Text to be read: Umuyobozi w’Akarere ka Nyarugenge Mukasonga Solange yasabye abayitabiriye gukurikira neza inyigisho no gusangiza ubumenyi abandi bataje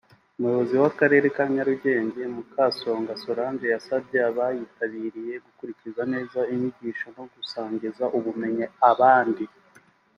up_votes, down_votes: 1, 4